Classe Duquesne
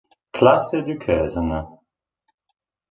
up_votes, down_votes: 1, 2